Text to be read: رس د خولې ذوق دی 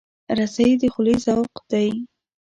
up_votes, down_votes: 1, 2